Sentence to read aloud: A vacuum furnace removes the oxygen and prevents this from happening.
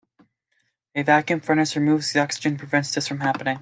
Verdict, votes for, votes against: rejected, 0, 2